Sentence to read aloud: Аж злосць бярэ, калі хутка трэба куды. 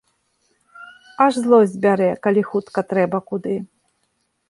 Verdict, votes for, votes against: accepted, 2, 0